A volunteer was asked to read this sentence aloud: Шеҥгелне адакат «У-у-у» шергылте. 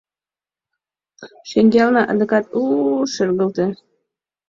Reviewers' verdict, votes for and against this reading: accepted, 2, 0